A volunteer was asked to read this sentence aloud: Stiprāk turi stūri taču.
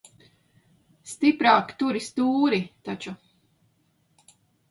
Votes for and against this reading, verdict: 2, 0, accepted